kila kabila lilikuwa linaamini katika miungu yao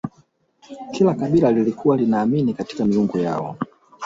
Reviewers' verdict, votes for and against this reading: rejected, 0, 2